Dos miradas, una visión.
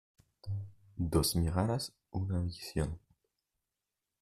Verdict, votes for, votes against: accepted, 2, 1